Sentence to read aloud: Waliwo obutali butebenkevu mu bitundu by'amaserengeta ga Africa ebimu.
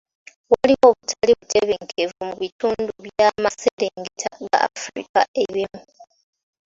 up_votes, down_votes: 3, 2